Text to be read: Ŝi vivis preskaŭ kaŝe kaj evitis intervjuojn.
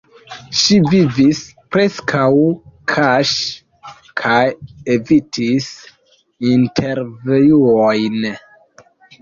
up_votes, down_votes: 2, 1